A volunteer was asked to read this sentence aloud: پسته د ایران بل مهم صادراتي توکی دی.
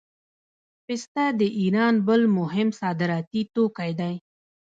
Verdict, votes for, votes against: rejected, 0, 2